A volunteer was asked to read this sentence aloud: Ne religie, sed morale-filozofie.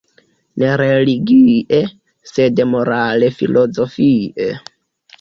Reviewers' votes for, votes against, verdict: 2, 0, accepted